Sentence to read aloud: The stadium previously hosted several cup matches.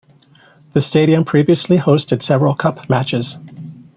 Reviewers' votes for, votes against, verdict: 2, 0, accepted